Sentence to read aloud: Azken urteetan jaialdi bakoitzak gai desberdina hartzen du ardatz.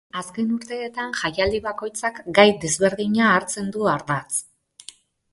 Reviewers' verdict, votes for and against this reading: accepted, 4, 0